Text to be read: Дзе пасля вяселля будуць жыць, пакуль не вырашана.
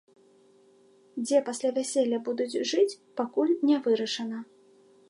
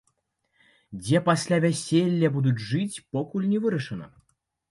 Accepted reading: first